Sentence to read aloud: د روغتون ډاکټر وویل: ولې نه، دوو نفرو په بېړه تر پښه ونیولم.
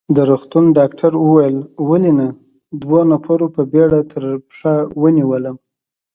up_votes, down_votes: 2, 0